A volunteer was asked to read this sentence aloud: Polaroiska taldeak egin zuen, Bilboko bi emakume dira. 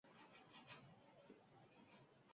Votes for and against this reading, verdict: 0, 4, rejected